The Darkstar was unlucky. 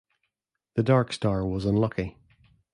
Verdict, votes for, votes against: rejected, 1, 2